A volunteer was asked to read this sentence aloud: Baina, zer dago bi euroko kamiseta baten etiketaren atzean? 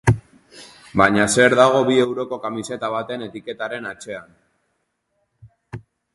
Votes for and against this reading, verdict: 3, 0, accepted